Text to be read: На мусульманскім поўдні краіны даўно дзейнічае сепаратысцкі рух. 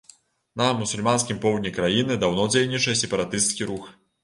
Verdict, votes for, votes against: accepted, 2, 0